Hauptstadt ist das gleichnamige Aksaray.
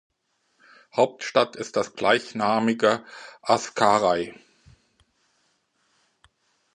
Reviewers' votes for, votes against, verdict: 0, 2, rejected